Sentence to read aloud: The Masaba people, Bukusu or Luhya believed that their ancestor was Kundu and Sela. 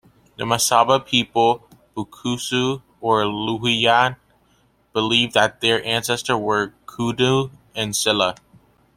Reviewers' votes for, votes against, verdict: 1, 2, rejected